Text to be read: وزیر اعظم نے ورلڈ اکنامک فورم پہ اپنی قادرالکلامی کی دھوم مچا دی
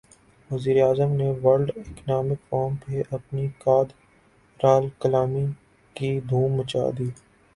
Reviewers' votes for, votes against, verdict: 0, 2, rejected